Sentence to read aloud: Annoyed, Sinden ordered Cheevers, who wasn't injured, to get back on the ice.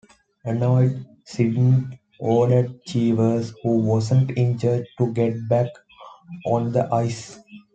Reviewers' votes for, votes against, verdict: 0, 2, rejected